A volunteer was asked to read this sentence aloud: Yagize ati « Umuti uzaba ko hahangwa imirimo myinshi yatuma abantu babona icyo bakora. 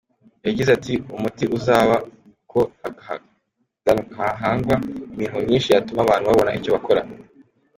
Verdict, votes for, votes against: accepted, 2, 1